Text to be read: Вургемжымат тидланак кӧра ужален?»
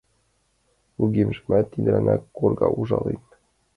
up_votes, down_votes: 0, 2